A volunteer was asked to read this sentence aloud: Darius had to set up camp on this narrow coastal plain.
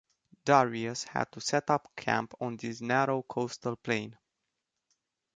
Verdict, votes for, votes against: accepted, 2, 0